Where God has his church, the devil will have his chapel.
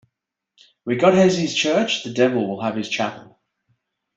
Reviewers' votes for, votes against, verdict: 2, 0, accepted